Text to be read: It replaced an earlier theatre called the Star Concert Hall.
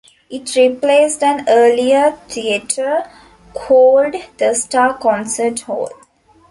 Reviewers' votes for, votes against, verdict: 2, 0, accepted